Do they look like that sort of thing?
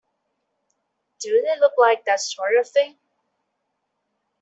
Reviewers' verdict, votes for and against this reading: accepted, 2, 0